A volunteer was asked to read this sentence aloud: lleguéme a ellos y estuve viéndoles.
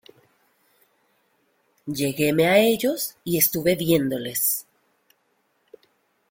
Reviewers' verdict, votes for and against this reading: accepted, 2, 1